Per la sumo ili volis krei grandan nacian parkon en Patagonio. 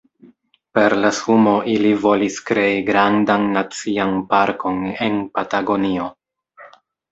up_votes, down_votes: 2, 1